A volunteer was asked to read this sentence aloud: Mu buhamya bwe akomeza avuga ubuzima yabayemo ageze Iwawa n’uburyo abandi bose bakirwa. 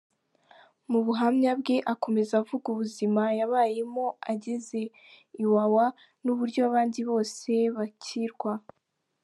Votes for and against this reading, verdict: 2, 0, accepted